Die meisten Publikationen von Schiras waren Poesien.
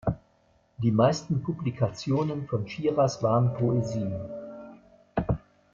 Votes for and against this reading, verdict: 0, 2, rejected